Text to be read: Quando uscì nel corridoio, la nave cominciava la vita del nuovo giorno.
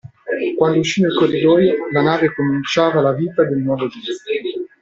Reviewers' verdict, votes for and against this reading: rejected, 0, 2